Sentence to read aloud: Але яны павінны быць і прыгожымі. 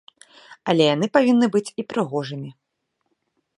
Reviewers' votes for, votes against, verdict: 2, 0, accepted